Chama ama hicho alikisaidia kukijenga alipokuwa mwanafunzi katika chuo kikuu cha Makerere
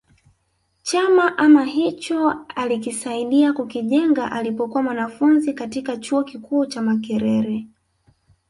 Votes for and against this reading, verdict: 0, 2, rejected